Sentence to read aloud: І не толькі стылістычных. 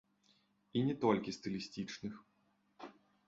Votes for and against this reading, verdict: 0, 2, rejected